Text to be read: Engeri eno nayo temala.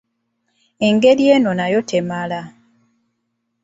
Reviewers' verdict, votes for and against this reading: accepted, 2, 1